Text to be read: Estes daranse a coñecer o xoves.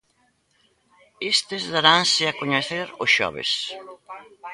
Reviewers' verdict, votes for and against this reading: rejected, 1, 2